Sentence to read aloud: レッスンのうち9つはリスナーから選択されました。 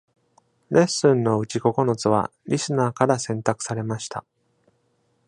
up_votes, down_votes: 0, 2